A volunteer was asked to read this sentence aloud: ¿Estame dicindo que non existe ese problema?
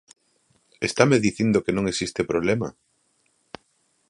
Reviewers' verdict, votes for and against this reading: rejected, 0, 2